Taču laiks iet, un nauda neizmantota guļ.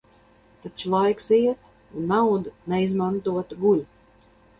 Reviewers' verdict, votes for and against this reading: accepted, 4, 0